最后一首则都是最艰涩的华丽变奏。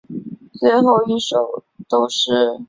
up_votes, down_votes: 1, 3